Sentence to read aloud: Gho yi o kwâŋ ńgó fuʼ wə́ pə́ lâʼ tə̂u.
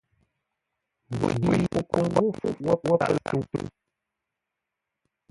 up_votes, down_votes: 0, 2